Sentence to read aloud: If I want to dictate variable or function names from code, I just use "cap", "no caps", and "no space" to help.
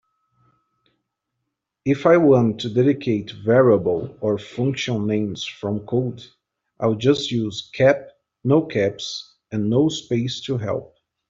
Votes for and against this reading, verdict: 1, 2, rejected